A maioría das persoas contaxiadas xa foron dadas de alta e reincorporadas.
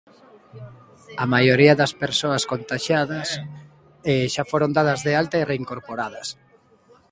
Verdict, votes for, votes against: rejected, 0, 2